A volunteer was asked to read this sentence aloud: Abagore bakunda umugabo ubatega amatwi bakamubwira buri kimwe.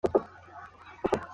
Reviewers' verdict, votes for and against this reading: rejected, 0, 2